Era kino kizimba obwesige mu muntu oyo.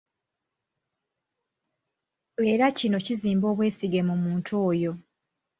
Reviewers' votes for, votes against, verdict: 2, 0, accepted